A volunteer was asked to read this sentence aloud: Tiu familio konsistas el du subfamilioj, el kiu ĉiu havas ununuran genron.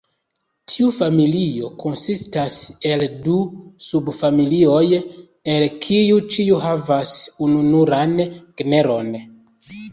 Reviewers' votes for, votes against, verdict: 0, 2, rejected